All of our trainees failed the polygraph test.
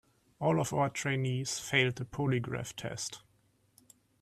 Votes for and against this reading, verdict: 2, 0, accepted